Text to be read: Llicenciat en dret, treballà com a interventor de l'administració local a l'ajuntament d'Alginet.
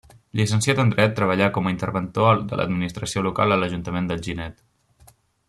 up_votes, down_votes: 0, 2